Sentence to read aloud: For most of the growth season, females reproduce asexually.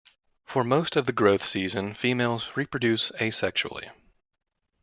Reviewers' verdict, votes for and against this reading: accepted, 2, 0